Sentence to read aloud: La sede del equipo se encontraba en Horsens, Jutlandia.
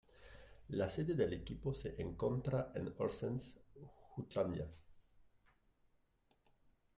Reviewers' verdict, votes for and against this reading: rejected, 0, 2